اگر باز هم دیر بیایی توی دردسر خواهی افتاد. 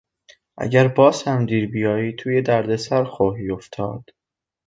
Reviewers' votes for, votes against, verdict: 2, 0, accepted